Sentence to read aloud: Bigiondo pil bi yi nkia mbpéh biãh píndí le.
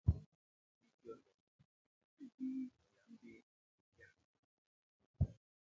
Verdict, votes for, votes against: rejected, 0, 2